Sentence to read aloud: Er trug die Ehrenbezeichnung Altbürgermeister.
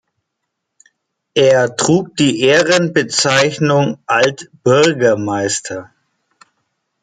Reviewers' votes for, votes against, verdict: 1, 2, rejected